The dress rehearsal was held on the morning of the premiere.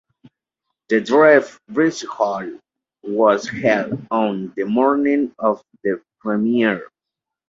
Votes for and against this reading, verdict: 0, 2, rejected